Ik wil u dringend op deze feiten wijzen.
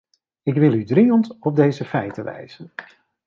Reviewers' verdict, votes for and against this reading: accepted, 2, 0